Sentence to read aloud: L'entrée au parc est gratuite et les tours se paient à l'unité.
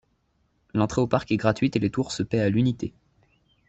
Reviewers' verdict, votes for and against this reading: accepted, 2, 0